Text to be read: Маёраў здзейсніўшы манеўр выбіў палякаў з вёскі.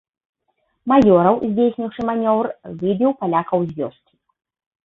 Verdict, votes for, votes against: rejected, 1, 2